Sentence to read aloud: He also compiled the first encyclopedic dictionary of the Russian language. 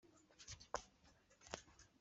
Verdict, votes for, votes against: rejected, 0, 2